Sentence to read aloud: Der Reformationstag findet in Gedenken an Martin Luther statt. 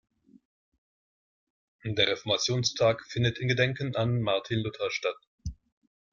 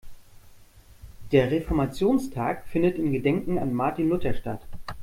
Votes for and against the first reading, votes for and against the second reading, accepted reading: 1, 2, 2, 0, second